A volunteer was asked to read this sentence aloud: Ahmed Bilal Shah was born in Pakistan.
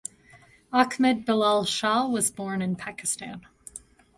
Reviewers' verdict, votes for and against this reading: rejected, 1, 2